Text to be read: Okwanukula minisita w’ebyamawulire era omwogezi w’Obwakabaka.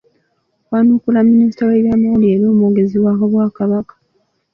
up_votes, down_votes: 0, 2